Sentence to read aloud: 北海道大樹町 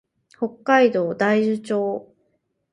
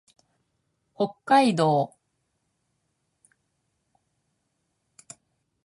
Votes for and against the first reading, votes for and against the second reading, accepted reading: 4, 0, 0, 3, first